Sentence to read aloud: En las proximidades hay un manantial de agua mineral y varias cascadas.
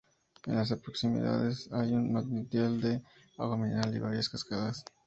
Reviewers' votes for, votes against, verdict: 4, 0, accepted